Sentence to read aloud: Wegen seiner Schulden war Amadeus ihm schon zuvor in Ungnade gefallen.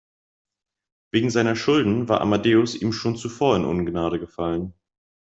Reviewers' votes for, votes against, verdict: 2, 0, accepted